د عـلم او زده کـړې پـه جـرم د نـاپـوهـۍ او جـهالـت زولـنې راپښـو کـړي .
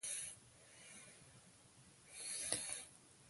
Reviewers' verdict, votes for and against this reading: rejected, 1, 2